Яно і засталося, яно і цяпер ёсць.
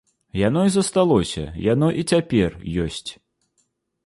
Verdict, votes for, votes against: accepted, 2, 0